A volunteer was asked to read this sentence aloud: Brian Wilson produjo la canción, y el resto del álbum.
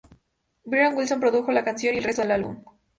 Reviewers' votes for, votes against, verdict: 2, 0, accepted